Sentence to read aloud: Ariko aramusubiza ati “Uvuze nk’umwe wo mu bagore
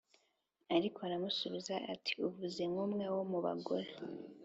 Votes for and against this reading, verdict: 2, 0, accepted